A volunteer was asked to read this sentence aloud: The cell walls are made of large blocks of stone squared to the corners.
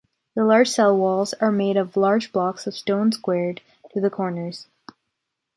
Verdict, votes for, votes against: rejected, 0, 3